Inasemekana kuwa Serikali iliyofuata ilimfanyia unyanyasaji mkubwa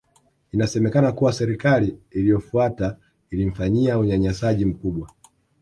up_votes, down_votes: 2, 0